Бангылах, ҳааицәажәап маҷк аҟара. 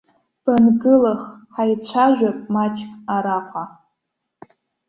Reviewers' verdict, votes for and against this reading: rejected, 1, 2